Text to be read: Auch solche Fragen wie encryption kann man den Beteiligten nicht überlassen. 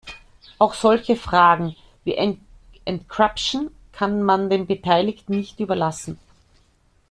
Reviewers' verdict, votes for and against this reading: rejected, 0, 2